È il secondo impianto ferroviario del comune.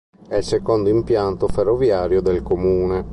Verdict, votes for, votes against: accepted, 2, 0